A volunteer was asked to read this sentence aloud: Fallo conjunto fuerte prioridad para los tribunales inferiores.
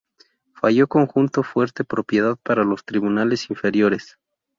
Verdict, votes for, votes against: rejected, 0, 2